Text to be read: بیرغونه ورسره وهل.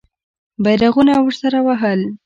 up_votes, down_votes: 2, 0